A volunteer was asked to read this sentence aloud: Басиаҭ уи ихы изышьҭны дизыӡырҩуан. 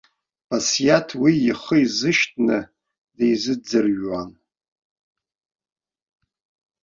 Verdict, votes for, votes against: accepted, 2, 0